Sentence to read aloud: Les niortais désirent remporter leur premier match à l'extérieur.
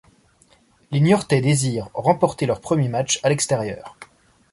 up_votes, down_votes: 2, 0